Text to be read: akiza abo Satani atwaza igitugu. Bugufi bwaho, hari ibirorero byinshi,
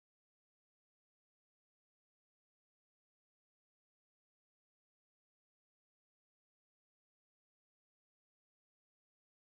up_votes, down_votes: 0, 2